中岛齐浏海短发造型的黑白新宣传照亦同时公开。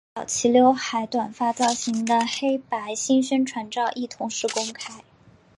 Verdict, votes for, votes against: rejected, 1, 4